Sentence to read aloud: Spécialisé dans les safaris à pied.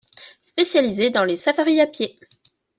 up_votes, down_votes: 2, 0